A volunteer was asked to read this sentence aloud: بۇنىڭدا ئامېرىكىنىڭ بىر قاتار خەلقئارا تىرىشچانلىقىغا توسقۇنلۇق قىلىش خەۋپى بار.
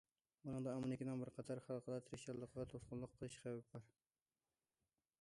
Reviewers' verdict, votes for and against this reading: rejected, 0, 2